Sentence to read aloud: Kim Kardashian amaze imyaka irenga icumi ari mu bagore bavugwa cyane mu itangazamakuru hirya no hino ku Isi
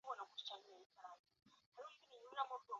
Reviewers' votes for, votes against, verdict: 0, 2, rejected